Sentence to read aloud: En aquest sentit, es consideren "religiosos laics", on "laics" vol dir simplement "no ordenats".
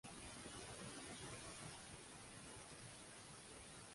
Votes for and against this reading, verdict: 0, 2, rejected